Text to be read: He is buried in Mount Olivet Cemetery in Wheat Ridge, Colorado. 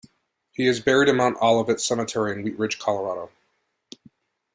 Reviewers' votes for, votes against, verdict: 2, 1, accepted